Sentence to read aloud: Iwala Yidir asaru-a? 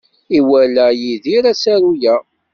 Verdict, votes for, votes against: accepted, 2, 0